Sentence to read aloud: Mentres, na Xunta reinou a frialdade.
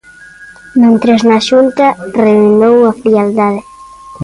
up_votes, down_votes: 0, 2